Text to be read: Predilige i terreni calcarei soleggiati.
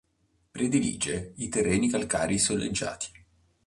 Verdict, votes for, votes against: accepted, 2, 0